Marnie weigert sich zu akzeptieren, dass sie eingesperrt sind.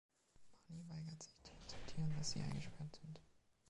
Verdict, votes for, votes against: rejected, 0, 2